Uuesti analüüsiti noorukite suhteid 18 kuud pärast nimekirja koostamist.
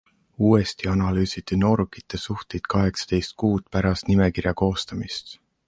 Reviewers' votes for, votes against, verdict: 0, 2, rejected